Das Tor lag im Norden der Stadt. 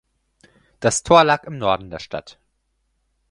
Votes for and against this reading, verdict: 4, 0, accepted